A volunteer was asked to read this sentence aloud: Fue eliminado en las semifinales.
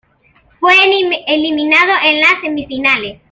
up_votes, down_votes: 2, 1